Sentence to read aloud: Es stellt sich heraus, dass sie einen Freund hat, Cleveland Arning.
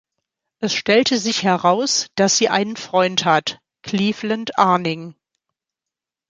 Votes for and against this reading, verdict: 1, 2, rejected